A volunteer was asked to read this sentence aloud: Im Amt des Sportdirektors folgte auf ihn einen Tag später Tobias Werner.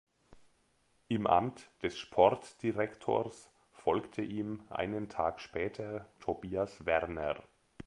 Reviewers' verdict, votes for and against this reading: rejected, 0, 2